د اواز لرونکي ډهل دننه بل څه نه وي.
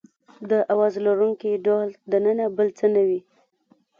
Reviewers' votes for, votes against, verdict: 0, 2, rejected